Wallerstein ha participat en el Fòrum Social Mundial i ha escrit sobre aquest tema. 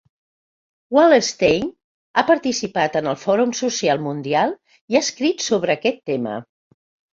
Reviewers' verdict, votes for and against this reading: accepted, 2, 0